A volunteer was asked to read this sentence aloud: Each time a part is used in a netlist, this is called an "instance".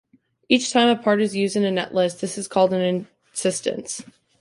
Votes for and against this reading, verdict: 0, 2, rejected